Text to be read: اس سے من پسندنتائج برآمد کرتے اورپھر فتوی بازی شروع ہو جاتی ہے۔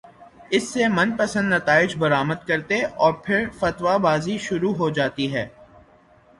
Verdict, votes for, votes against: rejected, 0, 3